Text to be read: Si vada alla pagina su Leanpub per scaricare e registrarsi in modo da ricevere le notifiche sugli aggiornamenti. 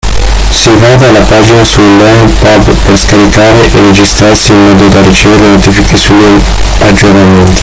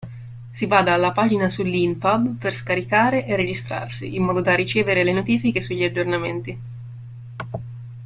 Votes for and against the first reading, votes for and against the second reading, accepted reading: 0, 2, 2, 0, second